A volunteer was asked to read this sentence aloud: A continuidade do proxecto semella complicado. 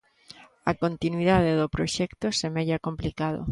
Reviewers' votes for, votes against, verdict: 2, 0, accepted